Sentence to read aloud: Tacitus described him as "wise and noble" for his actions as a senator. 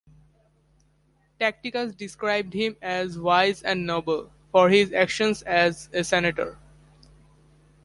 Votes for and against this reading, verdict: 1, 2, rejected